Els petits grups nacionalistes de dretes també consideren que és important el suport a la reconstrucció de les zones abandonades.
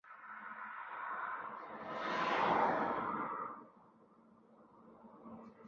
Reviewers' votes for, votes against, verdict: 0, 2, rejected